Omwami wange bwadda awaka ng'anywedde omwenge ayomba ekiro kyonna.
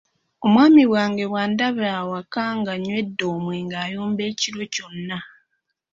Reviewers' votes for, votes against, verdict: 1, 2, rejected